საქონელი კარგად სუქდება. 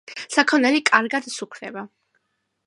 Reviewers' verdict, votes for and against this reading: accepted, 3, 0